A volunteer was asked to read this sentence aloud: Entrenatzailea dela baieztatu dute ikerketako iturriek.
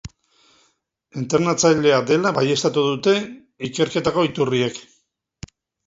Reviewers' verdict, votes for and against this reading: accepted, 6, 0